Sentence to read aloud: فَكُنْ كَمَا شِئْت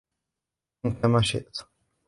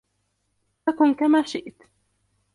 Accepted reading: second